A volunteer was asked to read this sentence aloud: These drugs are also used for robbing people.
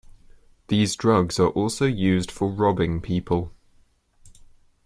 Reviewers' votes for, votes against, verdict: 2, 0, accepted